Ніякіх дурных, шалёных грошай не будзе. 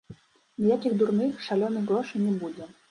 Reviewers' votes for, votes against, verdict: 2, 1, accepted